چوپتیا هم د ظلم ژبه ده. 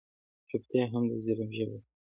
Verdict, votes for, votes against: rejected, 1, 2